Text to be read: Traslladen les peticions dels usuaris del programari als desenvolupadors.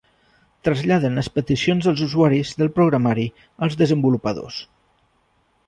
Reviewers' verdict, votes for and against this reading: accepted, 2, 0